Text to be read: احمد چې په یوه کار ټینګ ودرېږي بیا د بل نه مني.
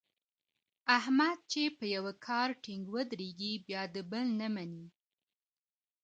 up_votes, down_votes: 2, 0